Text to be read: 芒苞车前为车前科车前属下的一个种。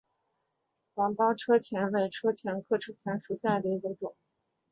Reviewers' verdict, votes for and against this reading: accepted, 2, 0